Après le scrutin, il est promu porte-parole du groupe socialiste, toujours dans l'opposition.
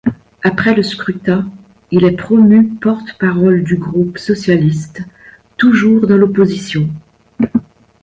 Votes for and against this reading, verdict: 0, 2, rejected